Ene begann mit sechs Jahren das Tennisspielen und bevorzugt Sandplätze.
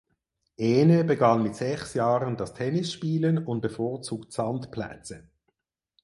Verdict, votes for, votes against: accepted, 4, 0